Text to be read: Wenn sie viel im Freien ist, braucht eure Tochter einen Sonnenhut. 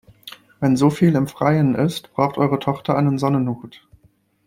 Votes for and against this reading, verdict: 1, 3, rejected